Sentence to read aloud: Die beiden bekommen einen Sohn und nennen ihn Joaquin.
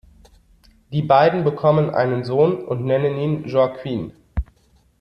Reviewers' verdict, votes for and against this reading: accepted, 2, 0